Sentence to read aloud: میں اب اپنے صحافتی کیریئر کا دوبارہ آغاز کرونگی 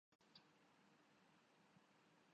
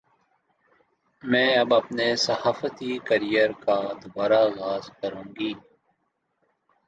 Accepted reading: second